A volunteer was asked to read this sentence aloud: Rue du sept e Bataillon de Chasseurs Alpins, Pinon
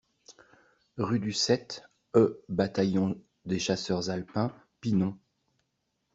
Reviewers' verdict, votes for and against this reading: rejected, 0, 2